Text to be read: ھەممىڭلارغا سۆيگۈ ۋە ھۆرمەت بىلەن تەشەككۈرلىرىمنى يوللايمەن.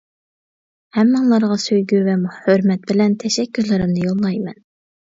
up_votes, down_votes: 1, 2